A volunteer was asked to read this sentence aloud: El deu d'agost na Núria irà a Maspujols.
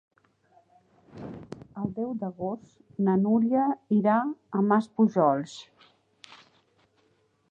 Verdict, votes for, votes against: rejected, 1, 2